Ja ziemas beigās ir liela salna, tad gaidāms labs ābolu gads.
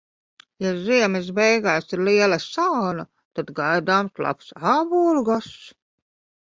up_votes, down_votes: 1, 2